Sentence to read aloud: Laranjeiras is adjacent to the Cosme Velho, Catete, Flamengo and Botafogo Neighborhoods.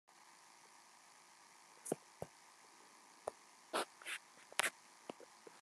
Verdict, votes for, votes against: rejected, 0, 2